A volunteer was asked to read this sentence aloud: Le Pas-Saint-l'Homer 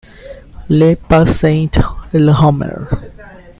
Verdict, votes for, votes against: rejected, 1, 2